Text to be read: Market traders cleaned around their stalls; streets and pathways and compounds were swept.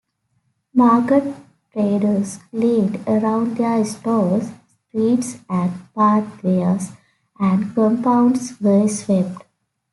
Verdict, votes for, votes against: rejected, 1, 2